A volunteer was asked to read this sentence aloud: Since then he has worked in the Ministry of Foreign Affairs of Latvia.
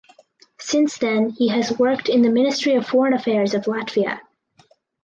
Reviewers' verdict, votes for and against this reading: accepted, 4, 0